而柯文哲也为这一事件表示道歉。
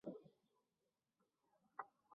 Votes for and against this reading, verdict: 0, 3, rejected